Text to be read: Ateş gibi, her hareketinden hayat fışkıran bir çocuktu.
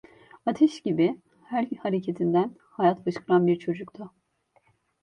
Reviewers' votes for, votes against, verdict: 2, 1, accepted